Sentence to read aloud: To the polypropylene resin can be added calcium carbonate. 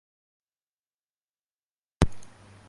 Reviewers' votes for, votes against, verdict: 0, 2, rejected